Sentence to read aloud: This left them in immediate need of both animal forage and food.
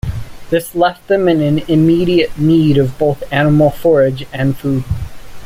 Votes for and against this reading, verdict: 2, 1, accepted